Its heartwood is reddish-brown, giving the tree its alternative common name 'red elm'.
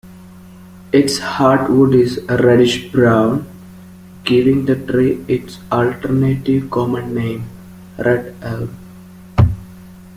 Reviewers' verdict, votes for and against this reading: rejected, 0, 2